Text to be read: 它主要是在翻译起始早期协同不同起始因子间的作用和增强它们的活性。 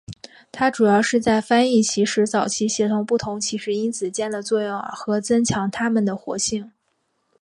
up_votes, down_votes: 2, 0